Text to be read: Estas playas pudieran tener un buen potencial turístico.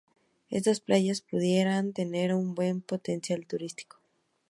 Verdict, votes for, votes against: accepted, 2, 0